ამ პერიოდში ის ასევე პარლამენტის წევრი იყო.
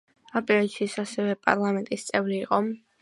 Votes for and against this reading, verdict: 2, 1, accepted